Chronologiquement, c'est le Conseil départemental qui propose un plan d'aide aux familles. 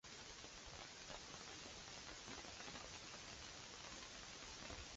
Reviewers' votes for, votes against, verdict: 0, 2, rejected